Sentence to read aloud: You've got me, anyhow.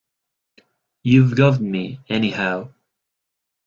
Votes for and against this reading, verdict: 2, 1, accepted